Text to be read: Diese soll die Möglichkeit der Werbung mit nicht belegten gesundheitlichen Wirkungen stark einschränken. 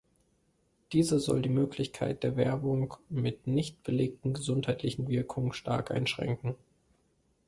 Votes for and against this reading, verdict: 2, 0, accepted